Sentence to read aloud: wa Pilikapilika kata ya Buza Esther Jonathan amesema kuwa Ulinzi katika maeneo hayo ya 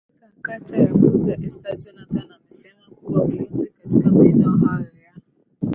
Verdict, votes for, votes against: rejected, 0, 2